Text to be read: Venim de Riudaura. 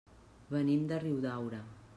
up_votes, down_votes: 3, 0